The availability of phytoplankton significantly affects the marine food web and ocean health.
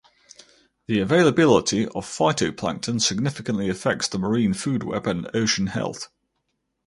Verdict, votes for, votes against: accepted, 4, 0